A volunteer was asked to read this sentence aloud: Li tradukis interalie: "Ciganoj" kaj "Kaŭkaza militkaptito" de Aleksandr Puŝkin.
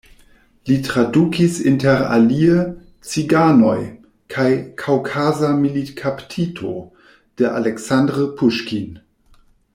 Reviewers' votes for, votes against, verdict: 2, 0, accepted